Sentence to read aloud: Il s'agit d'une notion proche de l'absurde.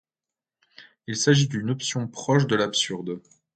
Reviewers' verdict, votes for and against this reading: rejected, 1, 2